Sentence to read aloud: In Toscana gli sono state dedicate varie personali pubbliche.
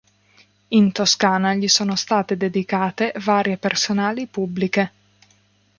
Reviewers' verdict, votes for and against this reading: accepted, 2, 0